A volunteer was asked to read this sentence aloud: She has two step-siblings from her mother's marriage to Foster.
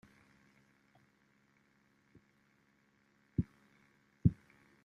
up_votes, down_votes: 0, 2